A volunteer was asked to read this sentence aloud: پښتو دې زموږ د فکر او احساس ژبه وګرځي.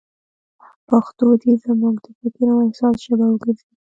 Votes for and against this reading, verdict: 2, 0, accepted